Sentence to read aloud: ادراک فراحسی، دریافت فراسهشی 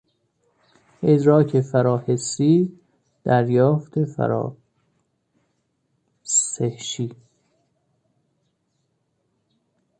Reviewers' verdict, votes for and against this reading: rejected, 0, 2